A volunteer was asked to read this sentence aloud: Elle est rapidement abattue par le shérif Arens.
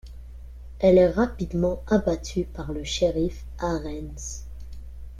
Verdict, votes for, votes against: accepted, 2, 1